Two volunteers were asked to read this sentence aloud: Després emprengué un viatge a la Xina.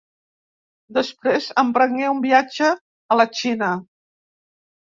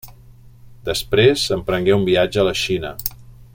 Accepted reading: second